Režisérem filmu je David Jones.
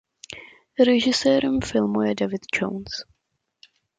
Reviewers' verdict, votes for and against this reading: accepted, 2, 0